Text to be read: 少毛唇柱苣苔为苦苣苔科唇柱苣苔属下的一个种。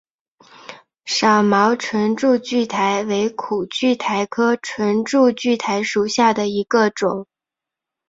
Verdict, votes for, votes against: accepted, 2, 0